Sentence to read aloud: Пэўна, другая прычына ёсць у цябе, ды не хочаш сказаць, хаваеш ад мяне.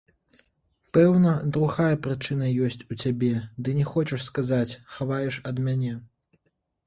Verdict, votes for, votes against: rejected, 1, 2